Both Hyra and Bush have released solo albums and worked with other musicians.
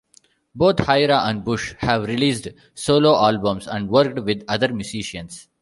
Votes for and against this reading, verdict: 2, 1, accepted